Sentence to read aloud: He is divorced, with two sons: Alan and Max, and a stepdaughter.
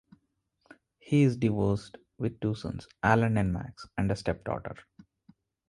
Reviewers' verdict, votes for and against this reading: accepted, 2, 0